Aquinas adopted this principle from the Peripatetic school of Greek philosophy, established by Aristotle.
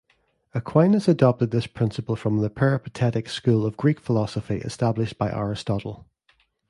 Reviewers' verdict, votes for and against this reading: accepted, 2, 0